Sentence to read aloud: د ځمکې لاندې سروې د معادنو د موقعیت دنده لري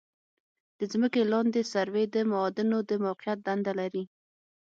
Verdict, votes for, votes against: accepted, 6, 3